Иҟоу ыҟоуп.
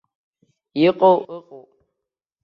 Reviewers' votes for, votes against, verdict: 1, 2, rejected